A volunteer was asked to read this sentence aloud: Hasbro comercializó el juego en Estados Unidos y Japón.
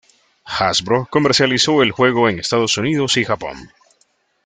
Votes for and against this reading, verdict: 2, 0, accepted